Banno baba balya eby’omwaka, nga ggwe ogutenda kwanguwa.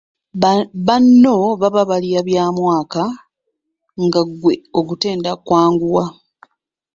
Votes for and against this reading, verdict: 1, 2, rejected